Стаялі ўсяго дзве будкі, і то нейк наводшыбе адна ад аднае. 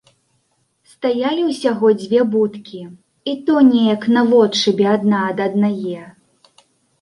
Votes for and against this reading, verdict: 1, 2, rejected